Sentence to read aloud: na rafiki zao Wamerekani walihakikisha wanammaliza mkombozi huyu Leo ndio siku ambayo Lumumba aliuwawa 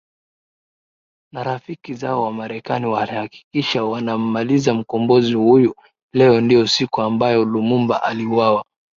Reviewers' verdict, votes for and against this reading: accepted, 2, 0